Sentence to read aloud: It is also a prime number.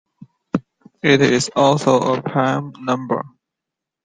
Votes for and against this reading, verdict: 2, 0, accepted